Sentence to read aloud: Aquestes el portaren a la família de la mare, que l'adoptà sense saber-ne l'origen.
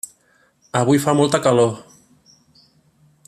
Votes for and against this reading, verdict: 0, 2, rejected